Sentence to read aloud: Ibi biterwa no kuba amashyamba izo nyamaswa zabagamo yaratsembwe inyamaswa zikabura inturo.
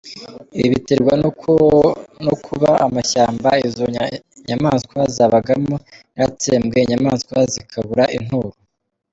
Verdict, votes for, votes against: accepted, 2, 1